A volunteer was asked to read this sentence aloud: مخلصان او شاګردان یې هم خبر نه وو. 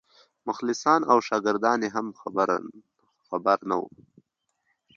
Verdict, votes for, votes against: rejected, 1, 2